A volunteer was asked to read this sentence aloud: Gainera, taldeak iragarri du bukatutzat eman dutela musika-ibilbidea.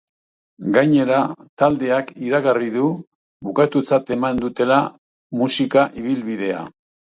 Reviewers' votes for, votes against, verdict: 4, 1, accepted